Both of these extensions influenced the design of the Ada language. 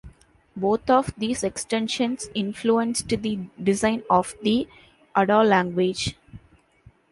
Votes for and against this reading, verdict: 1, 2, rejected